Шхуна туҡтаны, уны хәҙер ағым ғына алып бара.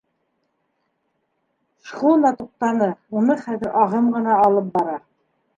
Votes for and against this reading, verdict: 2, 1, accepted